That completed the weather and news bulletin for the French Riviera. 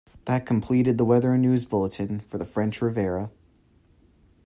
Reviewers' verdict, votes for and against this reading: accepted, 2, 0